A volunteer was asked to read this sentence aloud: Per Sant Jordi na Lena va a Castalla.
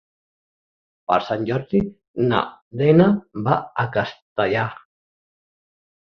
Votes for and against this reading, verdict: 0, 3, rejected